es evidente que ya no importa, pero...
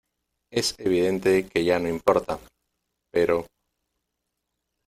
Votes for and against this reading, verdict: 2, 0, accepted